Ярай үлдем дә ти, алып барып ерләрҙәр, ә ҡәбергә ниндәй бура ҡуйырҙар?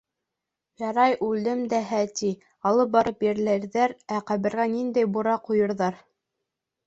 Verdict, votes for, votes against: accepted, 2, 0